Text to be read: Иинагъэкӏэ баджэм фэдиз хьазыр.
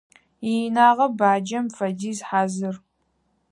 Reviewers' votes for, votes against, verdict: 0, 4, rejected